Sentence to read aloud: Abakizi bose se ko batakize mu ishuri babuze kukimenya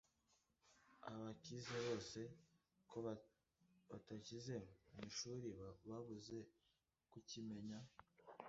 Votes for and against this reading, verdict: 0, 2, rejected